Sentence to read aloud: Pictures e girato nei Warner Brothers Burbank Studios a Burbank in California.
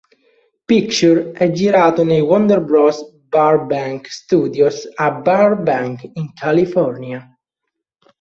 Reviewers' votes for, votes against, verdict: 2, 3, rejected